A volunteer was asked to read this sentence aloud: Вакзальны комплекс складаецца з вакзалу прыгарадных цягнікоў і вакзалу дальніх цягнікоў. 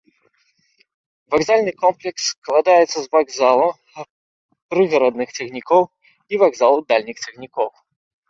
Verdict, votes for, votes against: rejected, 1, 2